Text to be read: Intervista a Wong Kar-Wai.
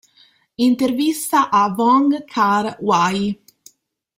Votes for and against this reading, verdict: 2, 0, accepted